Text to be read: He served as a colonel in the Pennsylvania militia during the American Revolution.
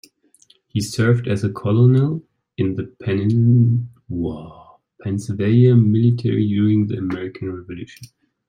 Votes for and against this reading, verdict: 0, 2, rejected